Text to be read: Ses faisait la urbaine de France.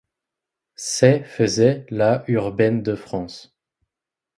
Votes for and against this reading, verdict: 1, 2, rejected